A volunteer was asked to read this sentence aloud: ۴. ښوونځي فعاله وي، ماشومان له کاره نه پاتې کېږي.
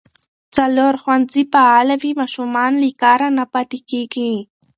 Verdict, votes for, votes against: rejected, 0, 2